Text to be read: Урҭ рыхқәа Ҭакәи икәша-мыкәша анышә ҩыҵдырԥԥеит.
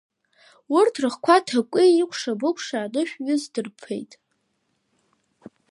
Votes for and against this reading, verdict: 1, 2, rejected